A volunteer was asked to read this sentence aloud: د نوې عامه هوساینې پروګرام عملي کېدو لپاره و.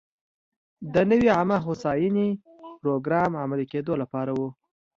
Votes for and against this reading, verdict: 2, 0, accepted